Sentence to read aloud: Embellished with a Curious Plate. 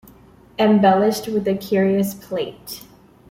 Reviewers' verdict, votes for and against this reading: accepted, 2, 0